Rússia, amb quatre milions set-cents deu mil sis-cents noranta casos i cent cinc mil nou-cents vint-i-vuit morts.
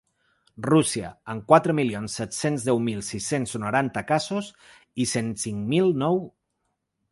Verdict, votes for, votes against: rejected, 0, 3